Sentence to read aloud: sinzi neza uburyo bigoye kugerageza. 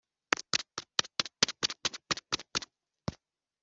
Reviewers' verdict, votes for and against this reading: rejected, 0, 2